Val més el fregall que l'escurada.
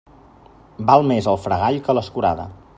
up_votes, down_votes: 3, 0